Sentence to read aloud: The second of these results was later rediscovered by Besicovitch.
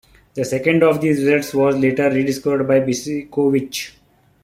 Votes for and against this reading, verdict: 0, 2, rejected